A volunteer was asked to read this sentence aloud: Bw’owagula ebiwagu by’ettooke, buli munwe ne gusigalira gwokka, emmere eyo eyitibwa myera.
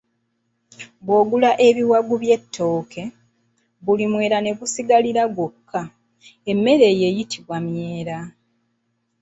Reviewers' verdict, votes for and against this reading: accepted, 2, 0